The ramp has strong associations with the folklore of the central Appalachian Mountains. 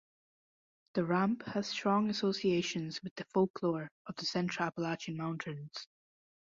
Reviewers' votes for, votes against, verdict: 2, 0, accepted